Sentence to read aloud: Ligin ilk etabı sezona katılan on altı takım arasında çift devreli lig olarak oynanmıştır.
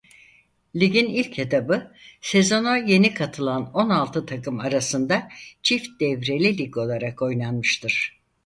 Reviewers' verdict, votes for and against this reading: rejected, 0, 4